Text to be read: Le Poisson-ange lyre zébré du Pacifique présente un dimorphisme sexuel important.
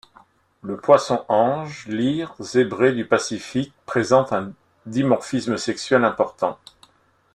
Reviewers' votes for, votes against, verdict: 1, 2, rejected